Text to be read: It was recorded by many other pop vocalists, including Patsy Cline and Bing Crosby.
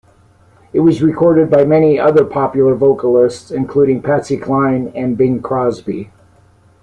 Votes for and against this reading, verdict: 2, 0, accepted